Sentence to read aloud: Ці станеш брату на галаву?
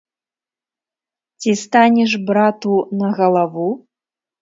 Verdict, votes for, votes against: accepted, 2, 0